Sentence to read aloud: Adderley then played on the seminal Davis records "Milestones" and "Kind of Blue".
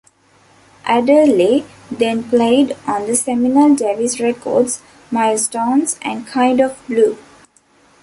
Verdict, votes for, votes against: accepted, 2, 1